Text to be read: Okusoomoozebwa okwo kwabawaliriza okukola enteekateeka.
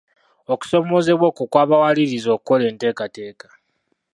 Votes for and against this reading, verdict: 0, 2, rejected